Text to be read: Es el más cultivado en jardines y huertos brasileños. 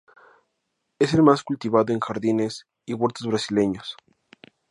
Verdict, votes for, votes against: accepted, 2, 0